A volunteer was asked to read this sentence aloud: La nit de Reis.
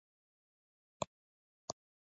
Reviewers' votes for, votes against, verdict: 1, 2, rejected